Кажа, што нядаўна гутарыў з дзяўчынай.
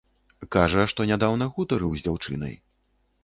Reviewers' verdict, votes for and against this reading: rejected, 1, 2